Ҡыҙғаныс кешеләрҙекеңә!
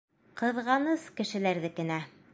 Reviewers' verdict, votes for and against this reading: accepted, 2, 1